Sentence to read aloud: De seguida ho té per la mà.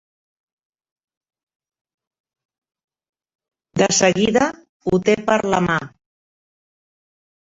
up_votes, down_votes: 3, 1